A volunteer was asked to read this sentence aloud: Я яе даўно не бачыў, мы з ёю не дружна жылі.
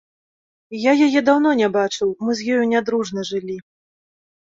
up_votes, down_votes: 2, 0